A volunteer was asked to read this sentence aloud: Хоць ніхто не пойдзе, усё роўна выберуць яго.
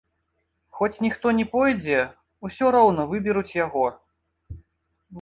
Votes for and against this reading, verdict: 1, 2, rejected